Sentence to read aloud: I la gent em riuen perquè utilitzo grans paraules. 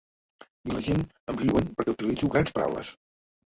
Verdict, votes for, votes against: rejected, 0, 2